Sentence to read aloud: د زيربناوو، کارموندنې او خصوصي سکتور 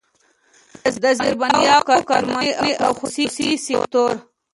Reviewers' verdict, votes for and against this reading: rejected, 0, 2